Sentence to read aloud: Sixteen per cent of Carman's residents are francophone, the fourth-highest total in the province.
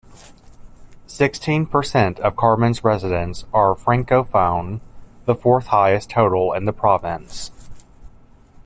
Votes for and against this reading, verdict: 2, 0, accepted